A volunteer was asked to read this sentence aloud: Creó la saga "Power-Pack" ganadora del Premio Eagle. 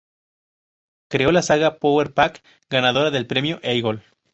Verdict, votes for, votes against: accepted, 4, 0